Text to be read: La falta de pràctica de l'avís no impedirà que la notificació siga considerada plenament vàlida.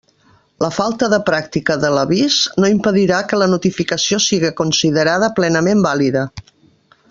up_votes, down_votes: 3, 0